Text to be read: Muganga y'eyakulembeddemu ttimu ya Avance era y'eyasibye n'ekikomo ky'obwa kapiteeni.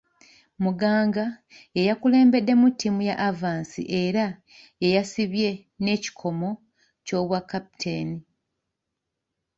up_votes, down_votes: 0, 2